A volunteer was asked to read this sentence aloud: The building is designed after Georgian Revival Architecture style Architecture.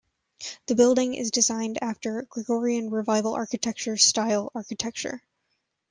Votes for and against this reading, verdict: 0, 2, rejected